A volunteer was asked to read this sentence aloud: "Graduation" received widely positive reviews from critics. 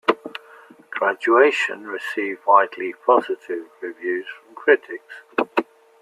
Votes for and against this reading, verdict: 2, 0, accepted